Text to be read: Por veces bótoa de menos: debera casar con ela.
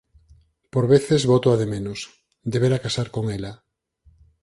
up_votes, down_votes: 4, 0